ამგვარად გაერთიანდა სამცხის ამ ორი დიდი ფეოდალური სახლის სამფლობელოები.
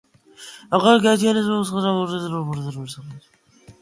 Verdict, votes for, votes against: rejected, 0, 2